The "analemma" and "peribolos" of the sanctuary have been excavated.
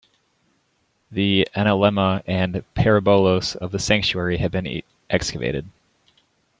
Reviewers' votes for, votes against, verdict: 1, 2, rejected